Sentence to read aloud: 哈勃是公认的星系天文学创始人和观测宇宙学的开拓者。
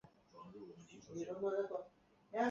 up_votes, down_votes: 1, 2